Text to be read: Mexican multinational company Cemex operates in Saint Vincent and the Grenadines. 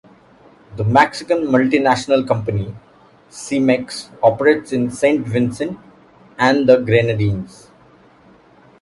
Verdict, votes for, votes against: rejected, 0, 2